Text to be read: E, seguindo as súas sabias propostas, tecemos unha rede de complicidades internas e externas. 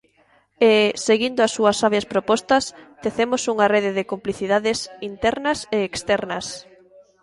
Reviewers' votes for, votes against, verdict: 1, 2, rejected